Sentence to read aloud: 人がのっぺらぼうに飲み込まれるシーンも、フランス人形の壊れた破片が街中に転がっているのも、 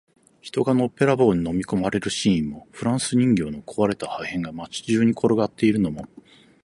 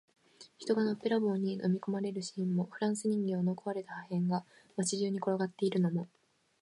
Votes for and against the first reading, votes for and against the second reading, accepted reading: 2, 2, 2, 0, second